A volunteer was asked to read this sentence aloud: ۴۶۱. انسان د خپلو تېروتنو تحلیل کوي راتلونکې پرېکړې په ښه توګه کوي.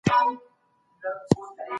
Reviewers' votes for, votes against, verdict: 0, 2, rejected